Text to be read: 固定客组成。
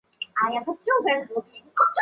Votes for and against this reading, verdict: 0, 2, rejected